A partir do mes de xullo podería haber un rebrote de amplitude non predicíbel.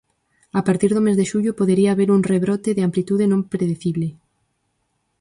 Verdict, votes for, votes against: rejected, 0, 4